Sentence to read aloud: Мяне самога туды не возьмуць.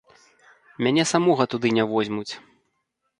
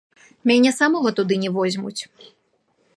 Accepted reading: first